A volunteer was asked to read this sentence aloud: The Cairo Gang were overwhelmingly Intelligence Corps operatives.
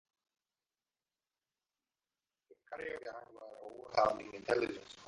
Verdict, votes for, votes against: rejected, 0, 2